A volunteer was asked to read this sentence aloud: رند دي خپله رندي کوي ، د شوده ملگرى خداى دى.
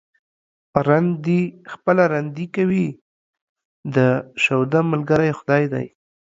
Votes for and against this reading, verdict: 2, 0, accepted